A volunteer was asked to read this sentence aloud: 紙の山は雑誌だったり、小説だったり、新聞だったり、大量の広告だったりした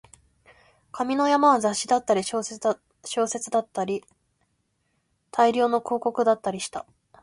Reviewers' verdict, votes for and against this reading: accepted, 13, 8